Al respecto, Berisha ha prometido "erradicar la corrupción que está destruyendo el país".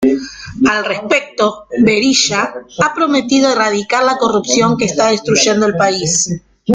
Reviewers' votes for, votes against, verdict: 2, 1, accepted